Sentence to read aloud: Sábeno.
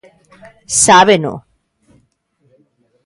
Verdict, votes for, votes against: accepted, 2, 0